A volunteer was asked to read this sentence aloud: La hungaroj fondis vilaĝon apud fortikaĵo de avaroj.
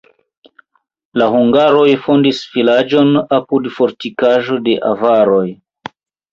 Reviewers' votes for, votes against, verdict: 2, 0, accepted